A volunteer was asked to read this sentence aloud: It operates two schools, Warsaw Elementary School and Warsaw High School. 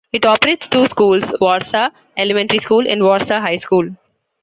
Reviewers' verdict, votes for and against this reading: rejected, 1, 2